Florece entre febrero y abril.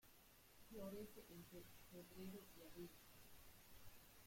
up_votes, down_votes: 0, 2